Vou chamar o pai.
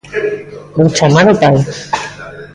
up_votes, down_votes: 1, 2